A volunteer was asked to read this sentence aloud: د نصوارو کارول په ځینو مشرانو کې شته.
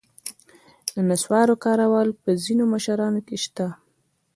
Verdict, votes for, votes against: rejected, 0, 2